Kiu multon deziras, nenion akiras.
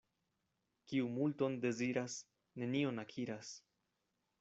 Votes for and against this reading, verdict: 2, 0, accepted